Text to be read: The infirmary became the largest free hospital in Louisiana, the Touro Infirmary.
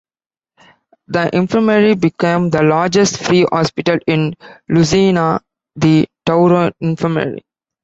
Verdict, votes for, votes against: rejected, 0, 2